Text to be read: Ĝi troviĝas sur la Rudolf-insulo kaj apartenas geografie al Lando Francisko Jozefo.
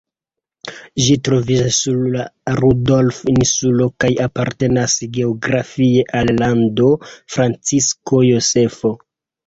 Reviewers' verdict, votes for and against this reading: rejected, 0, 2